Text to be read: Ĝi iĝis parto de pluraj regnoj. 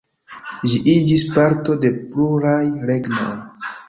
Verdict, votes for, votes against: rejected, 1, 2